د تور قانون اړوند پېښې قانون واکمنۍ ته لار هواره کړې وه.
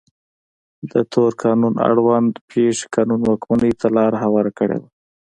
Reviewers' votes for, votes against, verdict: 2, 0, accepted